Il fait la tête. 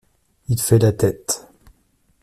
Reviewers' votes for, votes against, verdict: 2, 0, accepted